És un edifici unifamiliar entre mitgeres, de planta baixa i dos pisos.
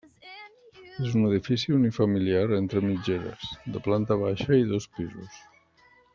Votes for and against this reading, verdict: 1, 2, rejected